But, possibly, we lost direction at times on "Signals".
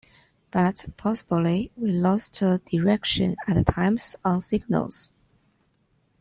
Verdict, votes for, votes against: rejected, 0, 2